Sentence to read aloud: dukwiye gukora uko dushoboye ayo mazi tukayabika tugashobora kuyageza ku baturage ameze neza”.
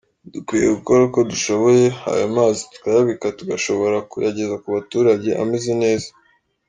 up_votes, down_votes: 4, 0